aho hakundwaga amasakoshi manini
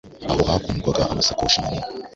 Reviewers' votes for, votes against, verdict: 1, 2, rejected